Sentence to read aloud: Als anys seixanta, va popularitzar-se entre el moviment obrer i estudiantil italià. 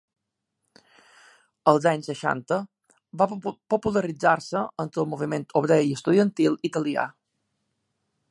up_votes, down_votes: 0, 2